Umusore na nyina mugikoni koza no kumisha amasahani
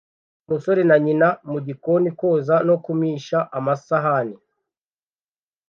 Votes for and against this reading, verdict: 2, 0, accepted